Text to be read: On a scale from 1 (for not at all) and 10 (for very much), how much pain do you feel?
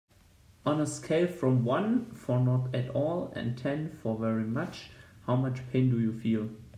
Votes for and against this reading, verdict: 0, 2, rejected